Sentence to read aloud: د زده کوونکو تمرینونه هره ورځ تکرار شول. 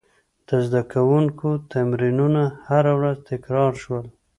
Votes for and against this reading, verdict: 2, 0, accepted